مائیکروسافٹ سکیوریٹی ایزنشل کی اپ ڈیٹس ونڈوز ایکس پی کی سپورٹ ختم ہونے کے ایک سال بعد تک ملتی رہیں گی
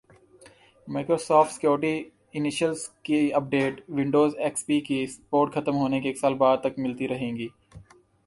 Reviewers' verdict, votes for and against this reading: accepted, 2, 0